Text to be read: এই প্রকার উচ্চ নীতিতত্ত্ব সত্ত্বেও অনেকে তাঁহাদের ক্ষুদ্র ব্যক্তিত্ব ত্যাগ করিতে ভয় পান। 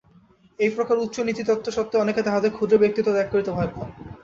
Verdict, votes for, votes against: rejected, 0, 2